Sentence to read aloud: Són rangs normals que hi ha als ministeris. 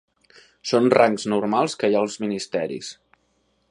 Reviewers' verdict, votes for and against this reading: accepted, 2, 0